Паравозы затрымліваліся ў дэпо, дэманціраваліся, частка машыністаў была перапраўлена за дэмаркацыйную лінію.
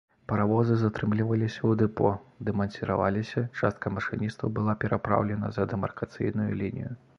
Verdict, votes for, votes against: rejected, 0, 2